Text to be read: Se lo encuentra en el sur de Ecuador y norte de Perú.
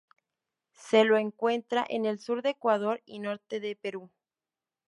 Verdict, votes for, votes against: accepted, 2, 0